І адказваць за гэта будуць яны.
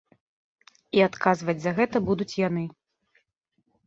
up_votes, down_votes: 2, 0